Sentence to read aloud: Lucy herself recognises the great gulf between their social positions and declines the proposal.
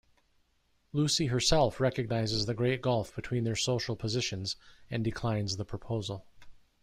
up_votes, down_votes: 2, 0